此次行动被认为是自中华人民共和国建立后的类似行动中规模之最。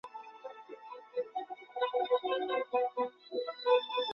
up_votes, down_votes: 0, 2